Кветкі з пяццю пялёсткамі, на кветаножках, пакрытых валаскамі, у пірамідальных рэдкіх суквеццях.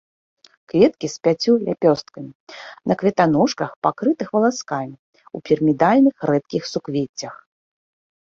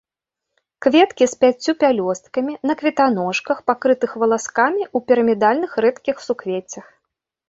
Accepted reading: second